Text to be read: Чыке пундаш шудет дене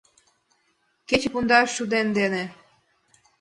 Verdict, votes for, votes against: rejected, 0, 2